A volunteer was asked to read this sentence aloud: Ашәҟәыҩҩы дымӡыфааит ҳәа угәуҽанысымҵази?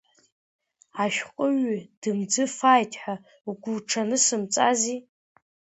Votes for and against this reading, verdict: 0, 2, rejected